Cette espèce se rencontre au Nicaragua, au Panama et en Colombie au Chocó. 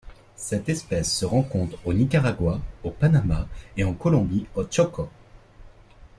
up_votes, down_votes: 2, 0